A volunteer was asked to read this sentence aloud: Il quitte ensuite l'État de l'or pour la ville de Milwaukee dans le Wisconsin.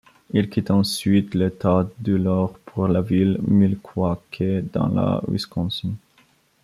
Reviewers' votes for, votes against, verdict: 0, 2, rejected